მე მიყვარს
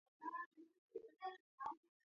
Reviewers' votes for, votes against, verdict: 0, 2, rejected